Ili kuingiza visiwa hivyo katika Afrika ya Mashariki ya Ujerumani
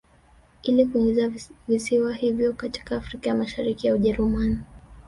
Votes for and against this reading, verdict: 0, 2, rejected